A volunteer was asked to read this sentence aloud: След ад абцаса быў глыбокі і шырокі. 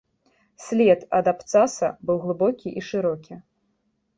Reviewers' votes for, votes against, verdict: 3, 0, accepted